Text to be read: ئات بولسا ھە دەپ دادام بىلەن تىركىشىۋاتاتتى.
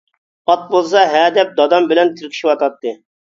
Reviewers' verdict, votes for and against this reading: accepted, 2, 0